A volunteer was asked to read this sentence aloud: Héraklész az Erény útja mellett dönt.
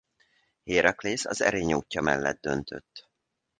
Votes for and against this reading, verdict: 0, 2, rejected